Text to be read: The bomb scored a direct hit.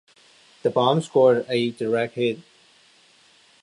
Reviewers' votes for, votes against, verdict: 2, 0, accepted